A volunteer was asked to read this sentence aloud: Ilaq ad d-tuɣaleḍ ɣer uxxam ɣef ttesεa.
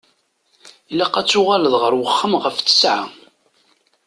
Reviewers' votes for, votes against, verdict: 1, 2, rejected